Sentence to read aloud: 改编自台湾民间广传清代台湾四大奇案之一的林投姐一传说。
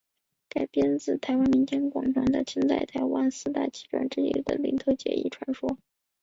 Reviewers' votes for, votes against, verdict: 3, 0, accepted